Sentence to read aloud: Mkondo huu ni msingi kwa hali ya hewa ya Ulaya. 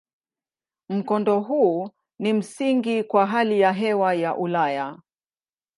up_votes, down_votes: 0, 2